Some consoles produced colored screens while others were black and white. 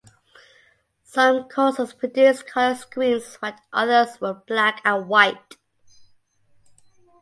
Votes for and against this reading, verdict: 2, 1, accepted